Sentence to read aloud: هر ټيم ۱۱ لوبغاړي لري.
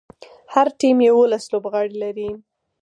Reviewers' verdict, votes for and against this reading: rejected, 0, 2